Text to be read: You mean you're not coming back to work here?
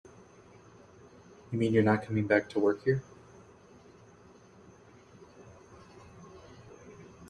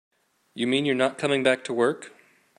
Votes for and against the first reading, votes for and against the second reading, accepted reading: 2, 0, 0, 2, first